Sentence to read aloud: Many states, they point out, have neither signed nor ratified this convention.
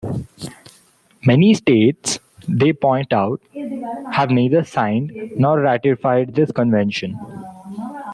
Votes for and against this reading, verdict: 1, 2, rejected